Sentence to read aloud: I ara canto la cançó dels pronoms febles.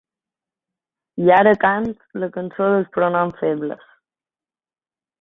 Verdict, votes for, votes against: rejected, 1, 3